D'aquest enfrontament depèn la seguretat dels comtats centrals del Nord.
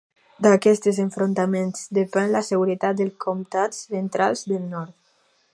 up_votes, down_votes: 0, 2